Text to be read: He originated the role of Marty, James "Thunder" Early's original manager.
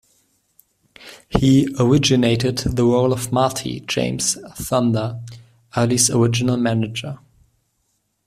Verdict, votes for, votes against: accepted, 2, 0